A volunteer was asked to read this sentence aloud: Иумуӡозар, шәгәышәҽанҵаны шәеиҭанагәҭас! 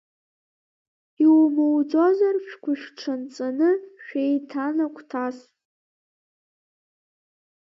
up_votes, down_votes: 2, 1